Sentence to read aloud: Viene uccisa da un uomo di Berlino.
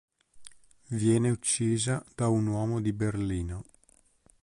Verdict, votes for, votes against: accepted, 2, 0